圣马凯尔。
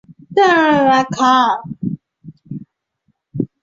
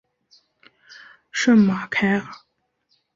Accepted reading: second